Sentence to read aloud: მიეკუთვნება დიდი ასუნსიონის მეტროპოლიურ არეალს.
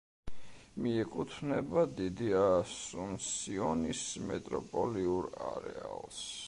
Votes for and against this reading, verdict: 2, 0, accepted